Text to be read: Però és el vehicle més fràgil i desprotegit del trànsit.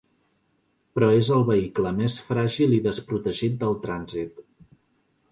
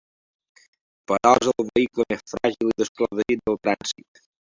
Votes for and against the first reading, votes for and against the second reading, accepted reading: 2, 0, 1, 2, first